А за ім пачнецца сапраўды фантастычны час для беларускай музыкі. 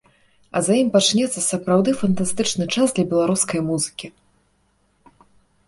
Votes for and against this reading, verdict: 2, 0, accepted